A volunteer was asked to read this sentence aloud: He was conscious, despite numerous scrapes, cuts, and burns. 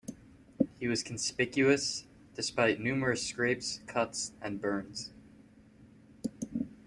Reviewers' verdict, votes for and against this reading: rejected, 0, 2